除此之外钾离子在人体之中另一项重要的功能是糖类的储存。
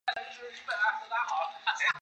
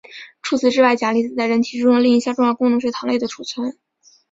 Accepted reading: second